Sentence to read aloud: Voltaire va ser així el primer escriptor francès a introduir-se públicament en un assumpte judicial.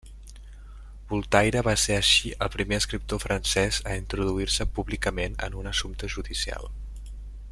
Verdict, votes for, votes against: rejected, 0, 2